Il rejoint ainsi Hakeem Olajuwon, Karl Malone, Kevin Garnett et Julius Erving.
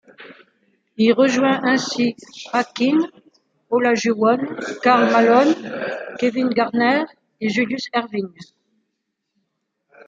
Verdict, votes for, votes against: rejected, 1, 2